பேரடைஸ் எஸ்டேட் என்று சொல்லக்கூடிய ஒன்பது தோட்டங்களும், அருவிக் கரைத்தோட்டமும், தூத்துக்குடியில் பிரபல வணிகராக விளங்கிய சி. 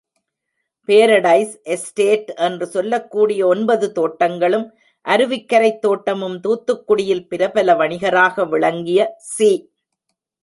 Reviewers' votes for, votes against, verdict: 1, 2, rejected